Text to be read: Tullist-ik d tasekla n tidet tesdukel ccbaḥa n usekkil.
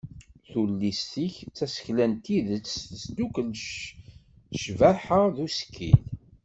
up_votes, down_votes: 1, 2